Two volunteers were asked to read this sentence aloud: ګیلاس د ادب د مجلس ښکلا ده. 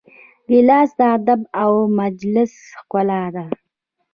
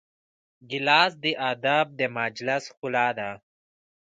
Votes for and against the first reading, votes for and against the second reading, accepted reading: 0, 2, 2, 1, second